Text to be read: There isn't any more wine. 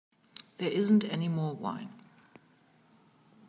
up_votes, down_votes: 3, 0